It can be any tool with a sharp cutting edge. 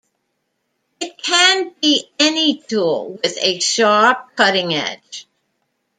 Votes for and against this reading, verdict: 2, 0, accepted